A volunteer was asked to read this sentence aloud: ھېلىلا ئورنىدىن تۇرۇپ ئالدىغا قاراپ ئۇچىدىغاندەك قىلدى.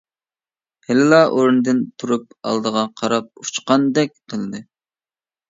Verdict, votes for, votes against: rejected, 0, 2